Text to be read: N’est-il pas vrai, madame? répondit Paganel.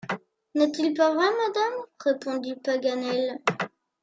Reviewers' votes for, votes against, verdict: 2, 0, accepted